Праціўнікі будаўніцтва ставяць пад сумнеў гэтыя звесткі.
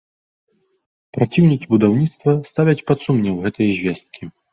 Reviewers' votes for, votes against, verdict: 3, 1, accepted